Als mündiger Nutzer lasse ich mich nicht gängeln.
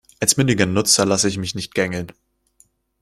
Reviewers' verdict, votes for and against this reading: accepted, 2, 0